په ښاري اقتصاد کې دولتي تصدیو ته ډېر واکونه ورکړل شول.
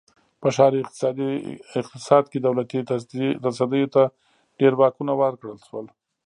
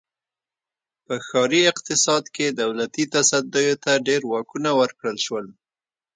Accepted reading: second